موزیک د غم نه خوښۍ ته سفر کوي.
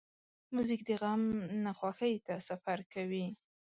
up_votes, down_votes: 3, 0